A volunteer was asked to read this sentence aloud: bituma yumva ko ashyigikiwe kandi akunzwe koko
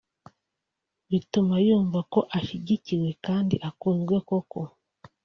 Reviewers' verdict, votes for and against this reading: accepted, 2, 0